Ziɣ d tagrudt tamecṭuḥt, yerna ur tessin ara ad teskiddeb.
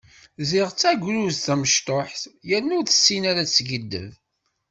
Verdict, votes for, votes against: accepted, 2, 0